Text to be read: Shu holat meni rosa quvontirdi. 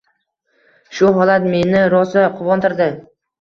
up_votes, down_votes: 1, 2